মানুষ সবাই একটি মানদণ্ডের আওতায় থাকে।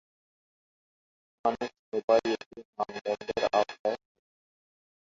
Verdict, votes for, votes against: rejected, 0, 4